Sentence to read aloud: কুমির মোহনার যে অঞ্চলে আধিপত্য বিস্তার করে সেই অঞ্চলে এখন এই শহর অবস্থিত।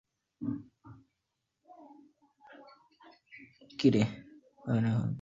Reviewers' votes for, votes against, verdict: 0, 3, rejected